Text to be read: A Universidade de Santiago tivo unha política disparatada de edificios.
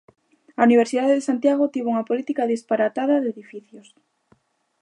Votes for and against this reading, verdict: 2, 0, accepted